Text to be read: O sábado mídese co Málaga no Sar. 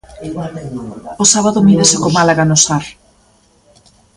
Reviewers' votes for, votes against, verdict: 1, 2, rejected